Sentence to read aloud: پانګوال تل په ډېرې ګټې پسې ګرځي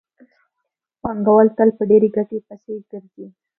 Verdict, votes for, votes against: accepted, 2, 0